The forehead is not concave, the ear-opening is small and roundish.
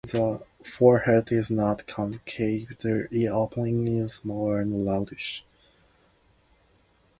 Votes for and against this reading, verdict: 0, 2, rejected